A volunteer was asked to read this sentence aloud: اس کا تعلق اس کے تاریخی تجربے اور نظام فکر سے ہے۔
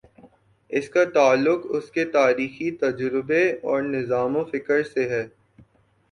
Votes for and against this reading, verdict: 3, 2, accepted